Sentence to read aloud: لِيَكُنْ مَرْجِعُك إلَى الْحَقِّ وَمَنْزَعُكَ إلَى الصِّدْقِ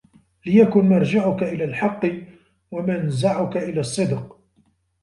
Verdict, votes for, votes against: rejected, 1, 2